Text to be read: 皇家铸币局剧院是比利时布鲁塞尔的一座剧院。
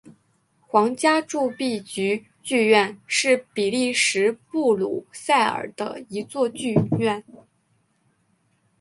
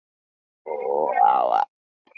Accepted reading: first